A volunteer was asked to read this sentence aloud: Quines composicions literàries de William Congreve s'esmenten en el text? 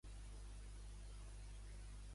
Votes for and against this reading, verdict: 1, 2, rejected